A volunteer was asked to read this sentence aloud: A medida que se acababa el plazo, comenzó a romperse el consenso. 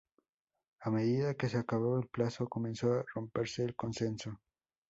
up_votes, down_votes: 2, 0